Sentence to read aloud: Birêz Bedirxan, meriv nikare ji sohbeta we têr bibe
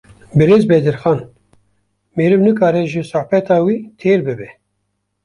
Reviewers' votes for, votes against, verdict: 0, 2, rejected